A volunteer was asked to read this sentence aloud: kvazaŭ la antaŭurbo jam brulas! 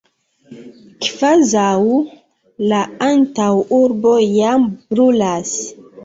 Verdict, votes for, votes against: rejected, 1, 2